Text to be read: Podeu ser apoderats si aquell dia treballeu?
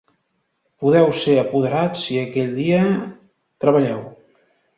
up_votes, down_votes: 1, 2